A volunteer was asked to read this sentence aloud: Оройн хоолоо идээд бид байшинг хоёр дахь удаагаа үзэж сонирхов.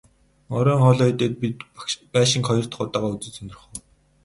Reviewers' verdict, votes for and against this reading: rejected, 2, 2